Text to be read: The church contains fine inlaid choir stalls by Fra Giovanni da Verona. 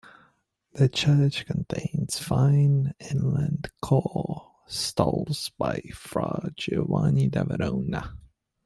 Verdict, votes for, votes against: rejected, 0, 2